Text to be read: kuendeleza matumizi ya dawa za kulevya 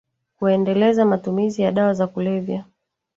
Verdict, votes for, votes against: rejected, 1, 2